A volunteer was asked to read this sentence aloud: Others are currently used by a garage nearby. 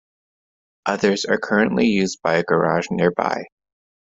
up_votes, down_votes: 2, 0